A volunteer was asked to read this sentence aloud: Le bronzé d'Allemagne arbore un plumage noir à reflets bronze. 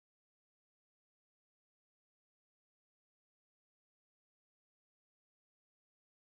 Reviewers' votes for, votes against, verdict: 0, 2, rejected